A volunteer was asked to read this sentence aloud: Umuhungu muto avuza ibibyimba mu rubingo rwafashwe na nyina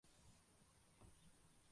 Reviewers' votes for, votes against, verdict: 0, 2, rejected